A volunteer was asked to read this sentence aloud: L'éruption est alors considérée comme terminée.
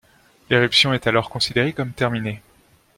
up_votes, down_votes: 2, 0